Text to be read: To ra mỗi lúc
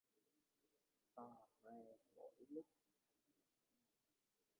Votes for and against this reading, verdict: 0, 2, rejected